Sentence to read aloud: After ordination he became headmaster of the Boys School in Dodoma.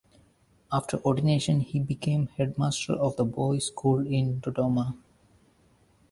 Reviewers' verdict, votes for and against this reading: accepted, 2, 0